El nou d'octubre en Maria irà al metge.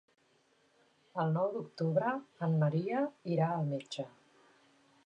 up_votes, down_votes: 4, 0